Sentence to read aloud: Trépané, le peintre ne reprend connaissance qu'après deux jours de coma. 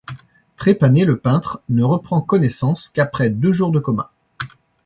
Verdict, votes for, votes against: accepted, 2, 0